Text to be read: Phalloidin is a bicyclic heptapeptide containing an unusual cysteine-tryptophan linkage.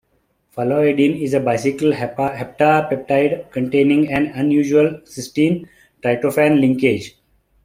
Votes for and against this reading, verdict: 0, 2, rejected